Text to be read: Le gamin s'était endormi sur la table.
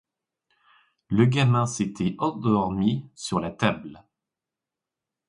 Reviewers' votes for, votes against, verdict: 1, 2, rejected